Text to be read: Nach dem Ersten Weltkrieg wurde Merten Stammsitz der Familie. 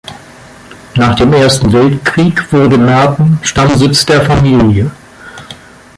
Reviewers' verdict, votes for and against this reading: accepted, 2, 1